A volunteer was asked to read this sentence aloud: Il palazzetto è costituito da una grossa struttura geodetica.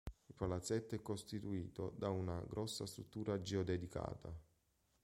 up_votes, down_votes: 0, 2